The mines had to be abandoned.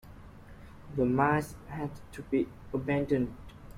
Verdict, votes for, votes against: accepted, 2, 0